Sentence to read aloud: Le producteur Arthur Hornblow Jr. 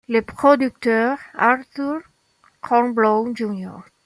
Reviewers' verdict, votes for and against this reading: accepted, 2, 0